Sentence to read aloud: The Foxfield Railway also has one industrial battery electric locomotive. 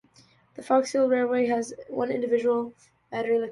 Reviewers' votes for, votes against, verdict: 0, 2, rejected